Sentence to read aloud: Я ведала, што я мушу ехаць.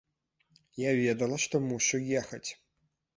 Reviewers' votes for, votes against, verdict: 0, 2, rejected